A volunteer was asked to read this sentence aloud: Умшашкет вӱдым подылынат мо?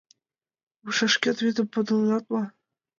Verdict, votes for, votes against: accepted, 2, 1